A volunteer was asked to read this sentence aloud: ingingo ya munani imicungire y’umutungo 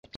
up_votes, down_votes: 0, 2